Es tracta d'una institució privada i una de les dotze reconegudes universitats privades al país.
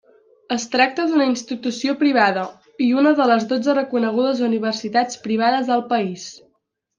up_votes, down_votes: 2, 1